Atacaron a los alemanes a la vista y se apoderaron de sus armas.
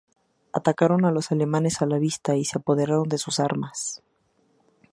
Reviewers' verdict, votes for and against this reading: accepted, 2, 0